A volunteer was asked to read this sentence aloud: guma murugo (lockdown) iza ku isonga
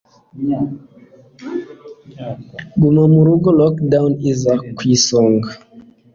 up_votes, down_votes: 2, 1